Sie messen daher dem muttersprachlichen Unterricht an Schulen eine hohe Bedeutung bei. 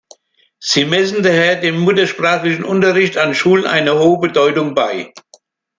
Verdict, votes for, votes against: accepted, 2, 0